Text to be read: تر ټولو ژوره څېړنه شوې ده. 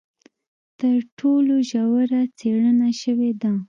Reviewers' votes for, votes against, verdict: 2, 0, accepted